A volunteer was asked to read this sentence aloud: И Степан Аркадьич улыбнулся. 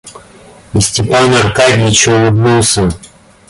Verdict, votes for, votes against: accepted, 2, 0